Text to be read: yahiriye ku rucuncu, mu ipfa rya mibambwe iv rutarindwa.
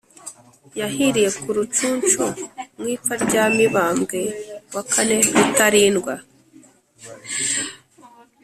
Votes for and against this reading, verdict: 3, 0, accepted